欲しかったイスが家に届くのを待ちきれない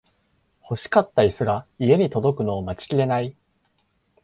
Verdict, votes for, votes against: accepted, 2, 0